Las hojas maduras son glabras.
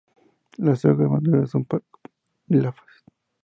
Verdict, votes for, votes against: rejected, 0, 2